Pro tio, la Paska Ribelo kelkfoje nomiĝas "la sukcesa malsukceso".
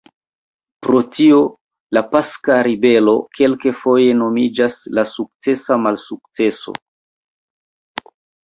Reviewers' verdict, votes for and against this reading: rejected, 1, 2